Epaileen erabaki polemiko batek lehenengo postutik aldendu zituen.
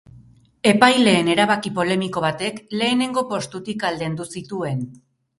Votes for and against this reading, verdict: 2, 2, rejected